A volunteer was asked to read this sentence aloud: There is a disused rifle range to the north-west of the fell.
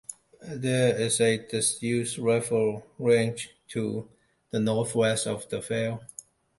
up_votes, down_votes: 2, 0